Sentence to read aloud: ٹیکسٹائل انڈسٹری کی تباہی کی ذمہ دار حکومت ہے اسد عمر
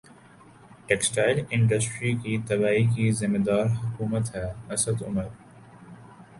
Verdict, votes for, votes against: accepted, 2, 0